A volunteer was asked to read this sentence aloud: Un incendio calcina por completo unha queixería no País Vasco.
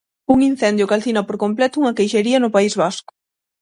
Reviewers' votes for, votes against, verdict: 6, 3, accepted